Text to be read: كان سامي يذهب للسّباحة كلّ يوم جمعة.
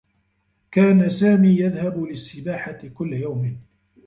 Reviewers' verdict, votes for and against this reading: rejected, 1, 2